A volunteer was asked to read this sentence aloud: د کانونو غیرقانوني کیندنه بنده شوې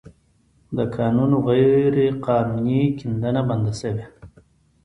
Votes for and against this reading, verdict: 2, 0, accepted